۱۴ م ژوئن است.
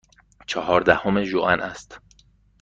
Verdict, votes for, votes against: rejected, 0, 2